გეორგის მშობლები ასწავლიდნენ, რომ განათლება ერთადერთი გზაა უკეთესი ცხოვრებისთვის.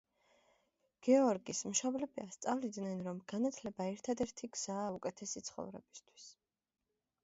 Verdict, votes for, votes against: accepted, 2, 0